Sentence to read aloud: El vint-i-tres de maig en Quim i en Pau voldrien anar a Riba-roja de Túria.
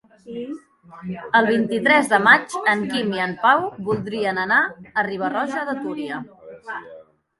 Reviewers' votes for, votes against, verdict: 2, 0, accepted